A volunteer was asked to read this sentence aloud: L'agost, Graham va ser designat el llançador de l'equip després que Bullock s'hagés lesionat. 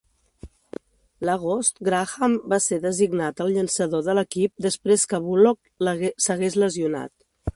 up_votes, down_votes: 1, 2